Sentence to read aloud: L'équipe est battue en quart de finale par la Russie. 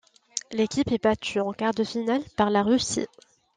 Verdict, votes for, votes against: accepted, 2, 0